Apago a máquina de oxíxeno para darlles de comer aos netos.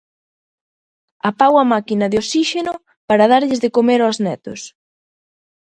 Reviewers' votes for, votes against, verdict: 2, 0, accepted